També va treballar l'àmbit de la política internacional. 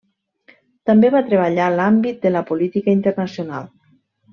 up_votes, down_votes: 2, 0